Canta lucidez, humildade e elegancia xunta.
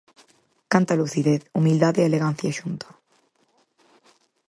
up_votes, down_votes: 4, 0